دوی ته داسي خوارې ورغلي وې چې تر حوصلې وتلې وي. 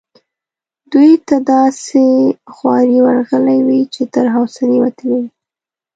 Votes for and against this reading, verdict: 2, 0, accepted